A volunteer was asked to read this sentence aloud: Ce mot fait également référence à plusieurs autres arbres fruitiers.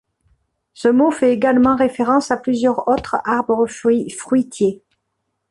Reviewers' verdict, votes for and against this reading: rejected, 0, 2